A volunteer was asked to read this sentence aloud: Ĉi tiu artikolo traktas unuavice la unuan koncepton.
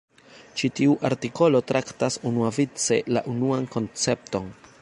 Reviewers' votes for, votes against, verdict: 1, 2, rejected